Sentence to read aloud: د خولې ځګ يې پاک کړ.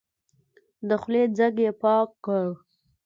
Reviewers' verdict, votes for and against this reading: accepted, 2, 0